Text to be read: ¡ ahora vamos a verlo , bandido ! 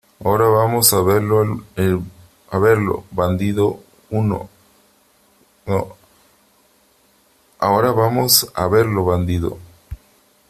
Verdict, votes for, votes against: rejected, 0, 3